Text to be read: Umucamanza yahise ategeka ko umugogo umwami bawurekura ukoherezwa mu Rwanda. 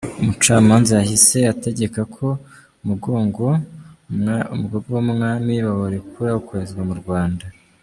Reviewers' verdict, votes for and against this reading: rejected, 0, 2